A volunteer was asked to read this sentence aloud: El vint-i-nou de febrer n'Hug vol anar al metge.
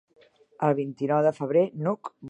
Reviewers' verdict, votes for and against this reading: rejected, 0, 2